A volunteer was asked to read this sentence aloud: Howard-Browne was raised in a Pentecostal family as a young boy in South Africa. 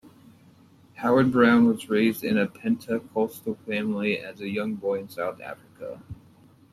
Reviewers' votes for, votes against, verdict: 2, 0, accepted